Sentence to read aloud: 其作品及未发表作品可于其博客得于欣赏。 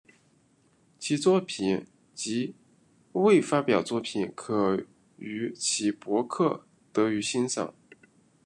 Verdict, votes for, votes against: accepted, 2, 0